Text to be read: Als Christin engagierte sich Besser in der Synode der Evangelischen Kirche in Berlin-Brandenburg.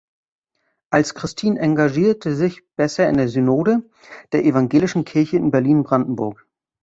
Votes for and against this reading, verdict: 0, 2, rejected